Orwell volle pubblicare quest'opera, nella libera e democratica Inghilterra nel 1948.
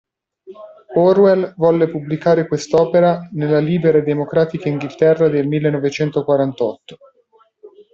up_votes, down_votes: 0, 2